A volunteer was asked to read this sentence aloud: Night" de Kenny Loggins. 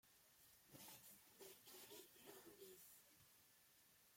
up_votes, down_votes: 0, 2